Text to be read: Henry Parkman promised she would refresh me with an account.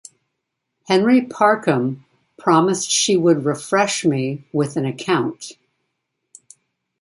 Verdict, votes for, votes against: rejected, 0, 2